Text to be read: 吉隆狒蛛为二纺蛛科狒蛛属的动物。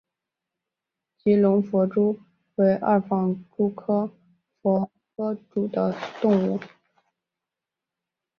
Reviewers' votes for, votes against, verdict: 2, 0, accepted